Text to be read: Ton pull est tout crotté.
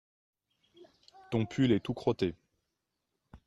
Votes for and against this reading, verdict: 2, 0, accepted